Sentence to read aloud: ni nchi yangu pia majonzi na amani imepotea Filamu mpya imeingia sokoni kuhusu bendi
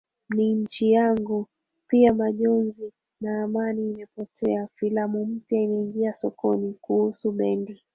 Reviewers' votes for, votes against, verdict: 3, 1, accepted